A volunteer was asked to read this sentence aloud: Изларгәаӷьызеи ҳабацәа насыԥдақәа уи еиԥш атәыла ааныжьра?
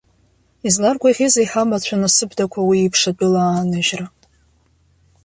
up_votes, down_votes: 0, 2